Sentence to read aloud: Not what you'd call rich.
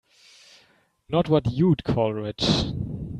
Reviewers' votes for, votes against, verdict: 2, 0, accepted